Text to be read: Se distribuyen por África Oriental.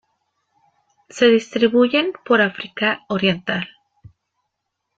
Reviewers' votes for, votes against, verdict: 1, 2, rejected